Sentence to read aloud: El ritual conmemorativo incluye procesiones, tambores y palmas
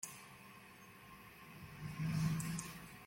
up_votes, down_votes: 0, 2